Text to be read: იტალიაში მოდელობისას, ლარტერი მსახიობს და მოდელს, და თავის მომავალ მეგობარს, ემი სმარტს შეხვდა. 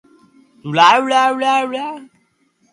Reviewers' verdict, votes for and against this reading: rejected, 0, 2